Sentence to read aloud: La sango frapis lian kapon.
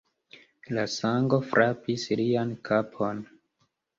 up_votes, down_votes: 2, 1